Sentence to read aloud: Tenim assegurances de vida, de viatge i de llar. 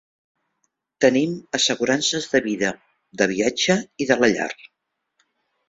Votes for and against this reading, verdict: 0, 2, rejected